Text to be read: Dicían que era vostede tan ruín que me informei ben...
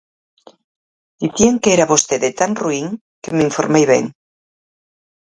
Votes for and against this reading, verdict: 4, 0, accepted